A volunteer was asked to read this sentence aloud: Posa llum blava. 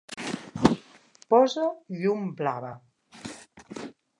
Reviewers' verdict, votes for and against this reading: accepted, 3, 0